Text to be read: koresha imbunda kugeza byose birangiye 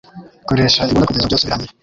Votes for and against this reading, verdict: 2, 3, rejected